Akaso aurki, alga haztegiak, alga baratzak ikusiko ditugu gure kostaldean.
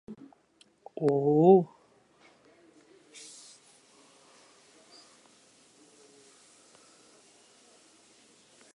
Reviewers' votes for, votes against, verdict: 0, 2, rejected